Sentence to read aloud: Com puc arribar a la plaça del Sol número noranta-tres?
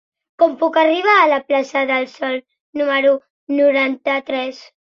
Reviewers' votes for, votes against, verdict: 3, 0, accepted